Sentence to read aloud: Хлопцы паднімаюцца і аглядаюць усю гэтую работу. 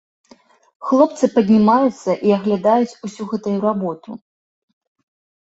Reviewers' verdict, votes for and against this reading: accepted, 2, 0